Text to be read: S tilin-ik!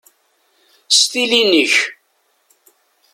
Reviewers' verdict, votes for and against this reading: accepted, 2, 0